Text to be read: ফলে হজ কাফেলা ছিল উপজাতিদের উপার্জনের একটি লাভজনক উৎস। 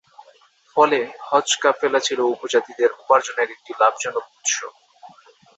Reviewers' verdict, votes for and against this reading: accepted, 2, 0